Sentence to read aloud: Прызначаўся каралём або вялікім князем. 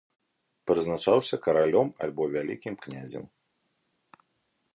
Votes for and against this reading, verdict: 1, 2, rejected